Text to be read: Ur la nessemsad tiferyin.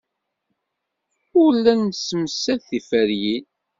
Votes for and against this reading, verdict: 2, 0, accepted